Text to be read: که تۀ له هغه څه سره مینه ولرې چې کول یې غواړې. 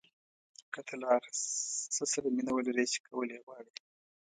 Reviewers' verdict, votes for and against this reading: rejected, 0, 2